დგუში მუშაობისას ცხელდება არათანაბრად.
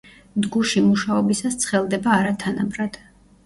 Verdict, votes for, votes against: rejected, 1, 2